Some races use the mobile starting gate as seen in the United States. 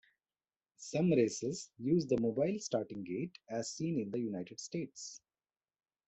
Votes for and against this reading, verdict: 2, 0, accepted